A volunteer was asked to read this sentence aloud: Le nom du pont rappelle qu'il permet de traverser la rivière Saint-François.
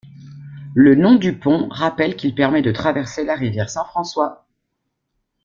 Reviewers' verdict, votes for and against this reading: accepted, 2, 0